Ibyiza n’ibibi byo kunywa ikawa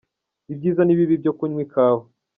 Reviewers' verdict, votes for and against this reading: rejected, 0, 2